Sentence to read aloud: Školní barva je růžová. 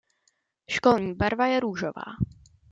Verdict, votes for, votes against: accepted, 2, 0